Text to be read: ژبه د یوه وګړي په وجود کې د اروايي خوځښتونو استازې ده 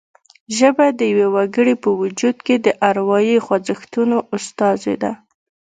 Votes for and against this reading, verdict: 2, 0, accepted